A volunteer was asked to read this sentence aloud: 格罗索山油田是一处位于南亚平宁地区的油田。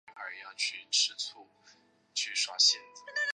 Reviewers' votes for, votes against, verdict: 0, 2, rejected